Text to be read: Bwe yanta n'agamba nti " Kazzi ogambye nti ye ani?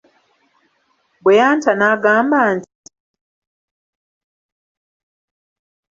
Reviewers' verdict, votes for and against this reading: rejected, 0, 2